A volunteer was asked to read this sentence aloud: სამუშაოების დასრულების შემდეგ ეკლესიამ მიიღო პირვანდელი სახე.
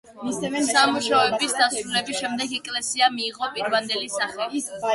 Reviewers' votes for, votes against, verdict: 1, 2, rejected